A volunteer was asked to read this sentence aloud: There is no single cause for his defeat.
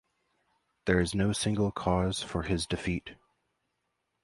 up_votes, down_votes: 2, 0